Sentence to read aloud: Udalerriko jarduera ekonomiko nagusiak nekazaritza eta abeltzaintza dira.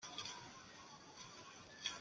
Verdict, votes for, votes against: rejected, 0, 2